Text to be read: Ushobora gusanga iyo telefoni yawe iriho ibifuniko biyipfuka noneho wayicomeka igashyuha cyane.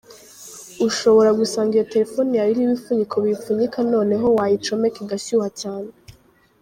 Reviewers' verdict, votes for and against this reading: accepted, 2, 1